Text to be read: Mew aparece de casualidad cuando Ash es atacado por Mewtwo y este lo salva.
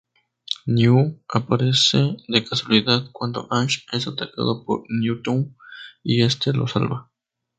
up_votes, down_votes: 2, 2